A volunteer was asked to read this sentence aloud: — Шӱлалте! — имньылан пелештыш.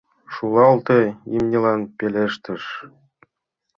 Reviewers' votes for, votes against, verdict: 1, 2, rejected